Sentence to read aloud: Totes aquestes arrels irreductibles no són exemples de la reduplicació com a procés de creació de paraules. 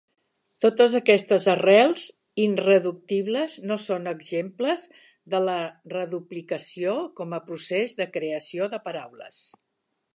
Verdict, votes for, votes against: rejected, 2, 3